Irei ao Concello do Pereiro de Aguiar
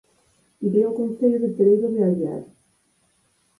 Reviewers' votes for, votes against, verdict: 2, 4, rejected